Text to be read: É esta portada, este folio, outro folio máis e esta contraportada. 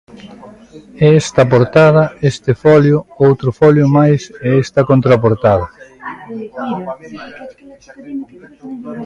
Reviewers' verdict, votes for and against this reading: accepted, 2, 0